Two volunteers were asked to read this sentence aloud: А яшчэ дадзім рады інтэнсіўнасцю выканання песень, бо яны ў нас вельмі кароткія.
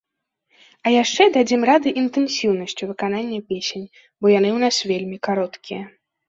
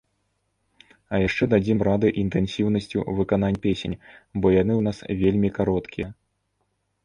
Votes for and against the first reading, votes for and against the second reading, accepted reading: 2, 0, 0, 2, first